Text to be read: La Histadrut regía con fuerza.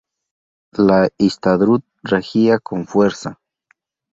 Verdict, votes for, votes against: accepted, 2, 0